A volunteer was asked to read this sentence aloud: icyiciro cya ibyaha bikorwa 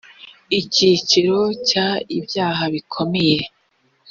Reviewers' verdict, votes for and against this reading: rejected, 0, 2